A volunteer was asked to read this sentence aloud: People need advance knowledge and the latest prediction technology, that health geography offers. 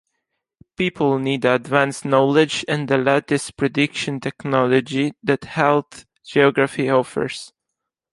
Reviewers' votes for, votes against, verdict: 2, 1, accepted